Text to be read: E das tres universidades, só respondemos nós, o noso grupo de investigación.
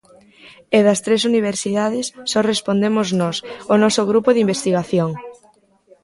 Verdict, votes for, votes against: accepted, 2, 1